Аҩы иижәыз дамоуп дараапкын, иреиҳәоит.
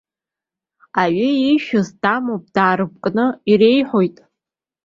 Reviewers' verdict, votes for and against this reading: rejected, 0, 2